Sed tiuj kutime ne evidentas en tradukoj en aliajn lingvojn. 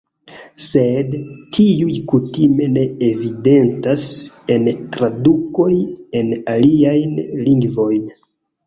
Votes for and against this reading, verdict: 2, 1, accepted